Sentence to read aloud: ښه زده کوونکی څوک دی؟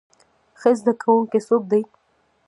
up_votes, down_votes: 0, 2